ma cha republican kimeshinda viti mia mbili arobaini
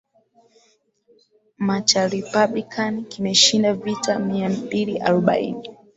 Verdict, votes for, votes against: accepted, 4, 0